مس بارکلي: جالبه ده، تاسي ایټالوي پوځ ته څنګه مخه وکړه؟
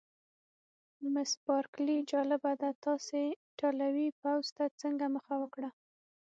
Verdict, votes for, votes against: rejected, 0, 6